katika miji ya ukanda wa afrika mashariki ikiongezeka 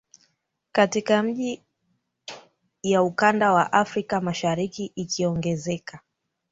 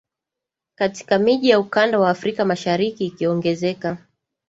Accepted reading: second